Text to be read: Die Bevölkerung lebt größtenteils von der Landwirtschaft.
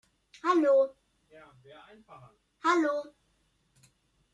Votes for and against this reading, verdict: 0, 2, rejected